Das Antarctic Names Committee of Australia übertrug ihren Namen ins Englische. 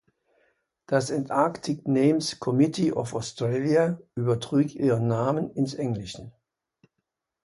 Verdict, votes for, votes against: rejected, 1, 2